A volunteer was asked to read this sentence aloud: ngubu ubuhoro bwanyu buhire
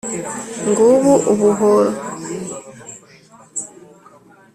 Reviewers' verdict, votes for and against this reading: rejected, 0, 3